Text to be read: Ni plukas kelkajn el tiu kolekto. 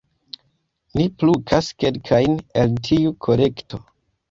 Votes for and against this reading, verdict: 1, 2, rejected